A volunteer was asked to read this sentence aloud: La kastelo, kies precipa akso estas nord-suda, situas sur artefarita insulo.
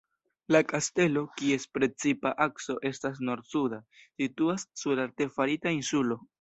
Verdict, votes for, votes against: accepted, 2, 0